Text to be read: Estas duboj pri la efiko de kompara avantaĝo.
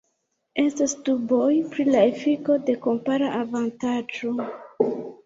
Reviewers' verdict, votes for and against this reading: rejected, 0, 2